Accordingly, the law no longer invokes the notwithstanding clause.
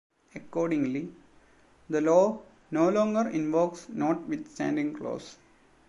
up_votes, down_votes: 0, 2